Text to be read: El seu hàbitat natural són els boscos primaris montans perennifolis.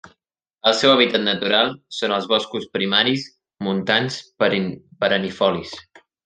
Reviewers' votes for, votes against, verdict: 3, 4, rejected